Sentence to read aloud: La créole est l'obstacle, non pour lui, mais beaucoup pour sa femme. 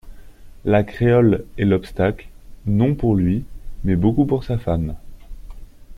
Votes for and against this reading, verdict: 2, 0, accepted